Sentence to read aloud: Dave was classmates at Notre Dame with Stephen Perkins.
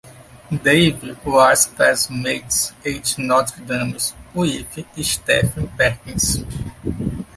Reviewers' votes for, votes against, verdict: 1, 2, rejected